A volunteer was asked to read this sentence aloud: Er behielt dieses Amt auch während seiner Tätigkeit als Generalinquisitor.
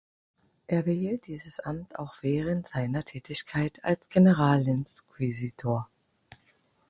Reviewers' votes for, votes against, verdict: 6, 12, rejected